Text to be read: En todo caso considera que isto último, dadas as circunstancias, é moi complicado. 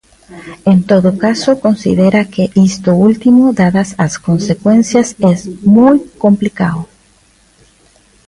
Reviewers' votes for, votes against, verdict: 0, 2, rejected